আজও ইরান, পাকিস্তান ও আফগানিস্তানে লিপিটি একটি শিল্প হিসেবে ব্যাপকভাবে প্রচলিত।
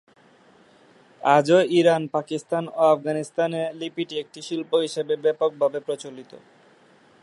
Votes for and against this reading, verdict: 4, 0, accepted